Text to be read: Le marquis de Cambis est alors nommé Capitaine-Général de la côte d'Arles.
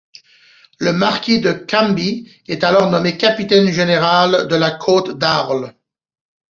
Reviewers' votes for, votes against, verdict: 2, 0, accepted